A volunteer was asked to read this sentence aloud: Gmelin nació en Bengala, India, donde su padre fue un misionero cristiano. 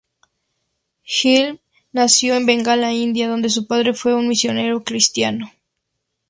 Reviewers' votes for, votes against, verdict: 2, 0, accepted